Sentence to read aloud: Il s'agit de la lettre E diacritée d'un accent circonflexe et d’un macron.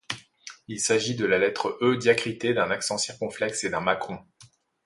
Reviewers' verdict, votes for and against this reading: accepted, 2, 0